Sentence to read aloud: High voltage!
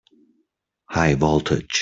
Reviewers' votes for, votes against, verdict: 2, 0, accepted